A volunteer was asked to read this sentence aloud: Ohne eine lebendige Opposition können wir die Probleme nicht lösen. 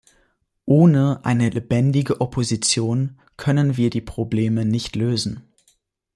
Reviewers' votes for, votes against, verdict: 2, 0, accepted